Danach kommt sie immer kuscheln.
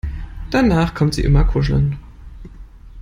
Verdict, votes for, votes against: accepted, 2, 0